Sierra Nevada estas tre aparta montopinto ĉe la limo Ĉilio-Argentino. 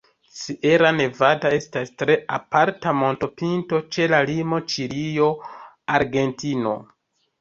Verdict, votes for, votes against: accepted, 2, 0